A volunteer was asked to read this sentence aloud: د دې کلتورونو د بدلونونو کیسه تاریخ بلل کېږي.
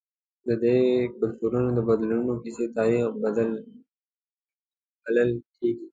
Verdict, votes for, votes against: accepted, 2, 1